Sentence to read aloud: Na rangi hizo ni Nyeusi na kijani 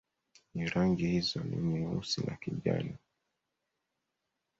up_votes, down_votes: 0, 2